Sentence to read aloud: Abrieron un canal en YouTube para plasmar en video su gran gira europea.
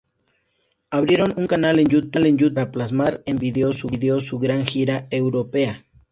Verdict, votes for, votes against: accepted, 2, 0